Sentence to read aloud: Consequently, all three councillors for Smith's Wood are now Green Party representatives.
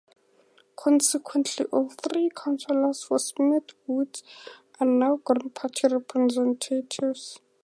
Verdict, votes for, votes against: accepted, 2, 0